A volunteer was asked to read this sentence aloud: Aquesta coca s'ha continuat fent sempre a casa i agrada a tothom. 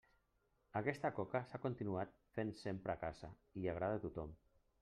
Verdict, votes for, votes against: rejected, 1, 2